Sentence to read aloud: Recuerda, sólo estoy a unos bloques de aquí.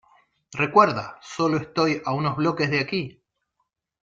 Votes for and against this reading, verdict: 2, 0, accepted